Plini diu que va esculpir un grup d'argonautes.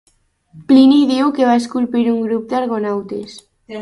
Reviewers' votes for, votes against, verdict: 2, 0, accepted